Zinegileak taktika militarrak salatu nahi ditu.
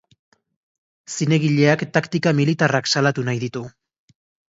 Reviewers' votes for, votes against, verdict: 2, 0, accepted